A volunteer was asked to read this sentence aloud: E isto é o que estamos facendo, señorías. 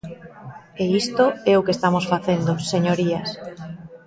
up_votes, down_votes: 2, 0